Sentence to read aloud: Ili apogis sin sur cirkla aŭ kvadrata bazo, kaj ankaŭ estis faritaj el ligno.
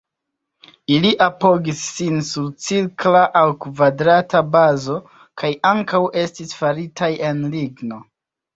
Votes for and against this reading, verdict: 2, 1, accepted